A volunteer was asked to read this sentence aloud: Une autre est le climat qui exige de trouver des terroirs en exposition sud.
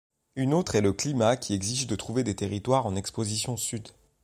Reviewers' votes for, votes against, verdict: 2, 1, accepted